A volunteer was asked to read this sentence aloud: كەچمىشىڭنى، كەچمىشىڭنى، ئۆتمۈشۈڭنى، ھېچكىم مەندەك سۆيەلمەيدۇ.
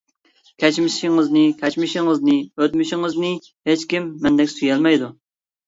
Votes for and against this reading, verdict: 0, 2, rejected